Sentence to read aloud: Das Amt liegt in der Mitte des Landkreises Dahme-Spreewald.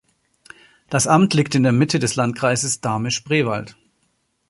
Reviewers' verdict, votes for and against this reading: accepted, 2, 0